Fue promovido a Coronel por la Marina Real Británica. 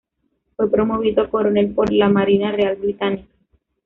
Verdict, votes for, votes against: rejected, 0, 3